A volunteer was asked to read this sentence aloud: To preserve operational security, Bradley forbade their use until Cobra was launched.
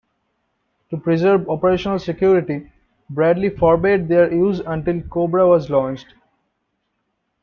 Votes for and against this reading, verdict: 2, 0, accepted